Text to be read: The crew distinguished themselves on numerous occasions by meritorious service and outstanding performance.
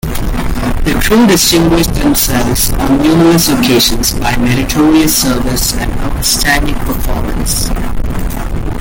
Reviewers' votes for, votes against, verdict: 2, 1, accepted